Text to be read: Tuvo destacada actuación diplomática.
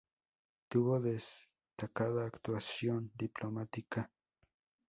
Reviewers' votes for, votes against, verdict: 2, 0, accepted